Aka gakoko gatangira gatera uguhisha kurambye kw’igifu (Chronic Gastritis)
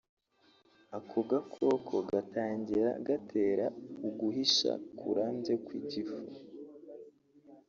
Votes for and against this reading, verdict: 1, 2, rejected